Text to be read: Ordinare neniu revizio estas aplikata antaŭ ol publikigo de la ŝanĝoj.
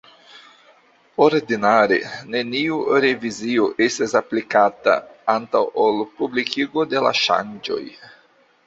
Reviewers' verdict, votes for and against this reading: rejected, 0, 2